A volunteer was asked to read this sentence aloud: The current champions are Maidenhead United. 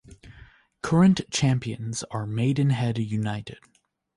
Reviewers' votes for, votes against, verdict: 1, 2, rejected